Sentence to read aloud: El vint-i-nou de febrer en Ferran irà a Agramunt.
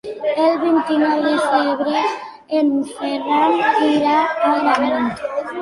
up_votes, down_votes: 1, 2